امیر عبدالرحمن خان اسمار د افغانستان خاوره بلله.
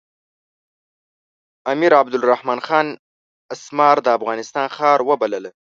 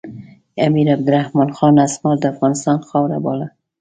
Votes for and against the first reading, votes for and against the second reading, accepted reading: 1, 3, 2, 1, second